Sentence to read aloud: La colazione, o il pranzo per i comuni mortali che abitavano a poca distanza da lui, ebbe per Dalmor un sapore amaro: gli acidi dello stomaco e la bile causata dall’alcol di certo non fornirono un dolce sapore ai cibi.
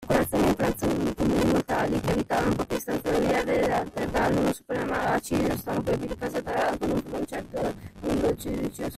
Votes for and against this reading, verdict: 0, 2, rejected